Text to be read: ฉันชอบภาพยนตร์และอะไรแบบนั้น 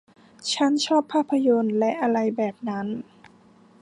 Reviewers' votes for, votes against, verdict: 2, 0, accepted